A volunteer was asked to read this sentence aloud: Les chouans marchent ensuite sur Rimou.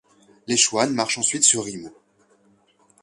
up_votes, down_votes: 2, 3